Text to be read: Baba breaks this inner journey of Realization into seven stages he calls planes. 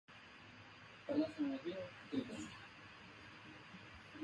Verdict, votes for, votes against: rejected, 0, 2